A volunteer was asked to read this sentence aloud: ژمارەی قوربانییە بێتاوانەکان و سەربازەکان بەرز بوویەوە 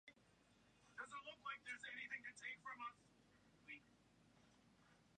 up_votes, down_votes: 0, 2